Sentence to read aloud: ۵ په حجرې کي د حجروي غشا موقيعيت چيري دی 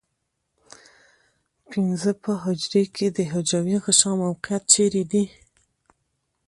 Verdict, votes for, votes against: rejected, 0, 2